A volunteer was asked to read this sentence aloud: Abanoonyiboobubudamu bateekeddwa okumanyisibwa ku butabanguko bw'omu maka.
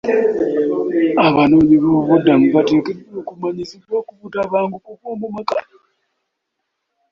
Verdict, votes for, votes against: rejected, 1, 2